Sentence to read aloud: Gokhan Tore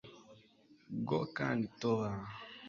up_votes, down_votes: 1, 2